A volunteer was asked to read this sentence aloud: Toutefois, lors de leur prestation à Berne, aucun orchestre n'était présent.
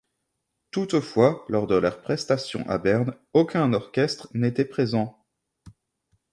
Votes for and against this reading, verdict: 2, 0, accepted